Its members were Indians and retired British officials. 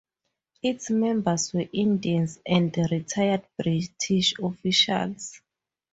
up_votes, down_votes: 4, 0